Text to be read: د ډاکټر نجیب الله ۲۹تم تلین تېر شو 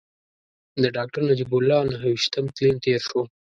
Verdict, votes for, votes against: rejected, 0, 2